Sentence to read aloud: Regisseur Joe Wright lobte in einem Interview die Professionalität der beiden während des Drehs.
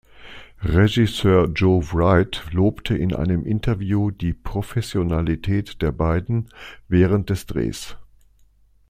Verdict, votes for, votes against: accepted, 2, 0